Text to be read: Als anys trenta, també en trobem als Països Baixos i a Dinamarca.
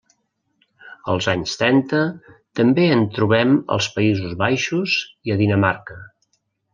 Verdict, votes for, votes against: rejected, 0, 2